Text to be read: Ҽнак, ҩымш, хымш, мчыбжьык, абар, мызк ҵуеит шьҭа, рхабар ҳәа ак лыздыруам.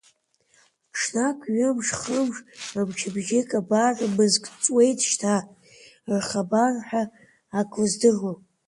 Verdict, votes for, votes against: rejected, 0, 2